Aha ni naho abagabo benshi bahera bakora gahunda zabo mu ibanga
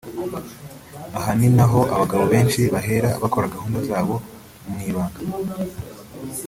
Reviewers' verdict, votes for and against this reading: accepted, 2, 0